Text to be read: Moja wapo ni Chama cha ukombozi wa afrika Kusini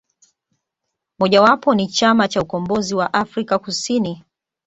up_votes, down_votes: 2, 0